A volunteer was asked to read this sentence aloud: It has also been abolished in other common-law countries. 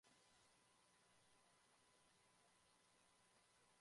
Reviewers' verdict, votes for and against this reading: rejected, 0, 2